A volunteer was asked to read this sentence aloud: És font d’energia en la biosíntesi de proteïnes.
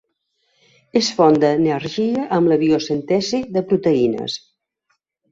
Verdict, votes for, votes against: rejected, 0, 2